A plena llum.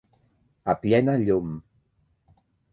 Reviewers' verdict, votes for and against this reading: rejected, 1, 2